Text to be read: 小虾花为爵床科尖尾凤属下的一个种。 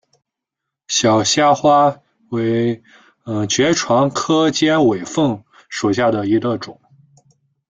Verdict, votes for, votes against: rejected, 1, 2